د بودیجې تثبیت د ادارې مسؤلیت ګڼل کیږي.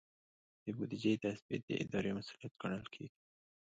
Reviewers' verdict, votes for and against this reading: accepted, 2, 1